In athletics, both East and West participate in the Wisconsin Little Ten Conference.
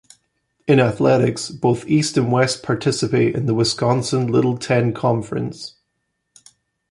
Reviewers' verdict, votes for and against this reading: accepted, 2, 0